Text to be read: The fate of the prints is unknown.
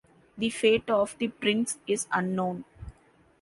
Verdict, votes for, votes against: accepted, 2, 0